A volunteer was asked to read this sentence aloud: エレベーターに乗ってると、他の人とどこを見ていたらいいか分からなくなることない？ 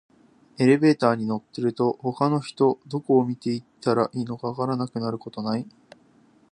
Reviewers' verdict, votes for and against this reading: accepted, 2, 0